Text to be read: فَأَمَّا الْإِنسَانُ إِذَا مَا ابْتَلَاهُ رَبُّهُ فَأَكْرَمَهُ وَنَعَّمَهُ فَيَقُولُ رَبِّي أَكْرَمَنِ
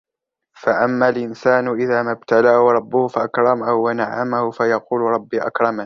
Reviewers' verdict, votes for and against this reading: rejected, 0, 2